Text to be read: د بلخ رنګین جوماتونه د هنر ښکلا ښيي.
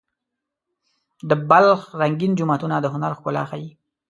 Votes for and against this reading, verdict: 2, 0, accepted